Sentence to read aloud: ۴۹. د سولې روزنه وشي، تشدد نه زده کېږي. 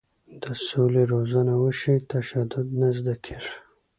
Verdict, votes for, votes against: rejected, 0, 2